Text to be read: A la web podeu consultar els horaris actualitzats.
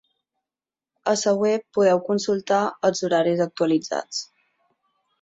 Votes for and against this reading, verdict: 3, 6, rejected